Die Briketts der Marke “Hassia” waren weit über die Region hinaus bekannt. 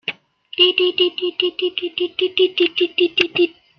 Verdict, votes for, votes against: rejected, 0, 2